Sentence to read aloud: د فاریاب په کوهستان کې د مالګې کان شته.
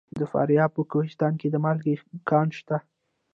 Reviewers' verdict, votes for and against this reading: rejected, 1, 2